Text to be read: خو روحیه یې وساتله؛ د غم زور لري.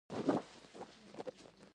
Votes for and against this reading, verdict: 0, 2, rejected